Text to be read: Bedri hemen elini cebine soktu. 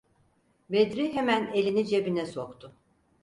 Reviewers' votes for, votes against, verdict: 4, 0, accepted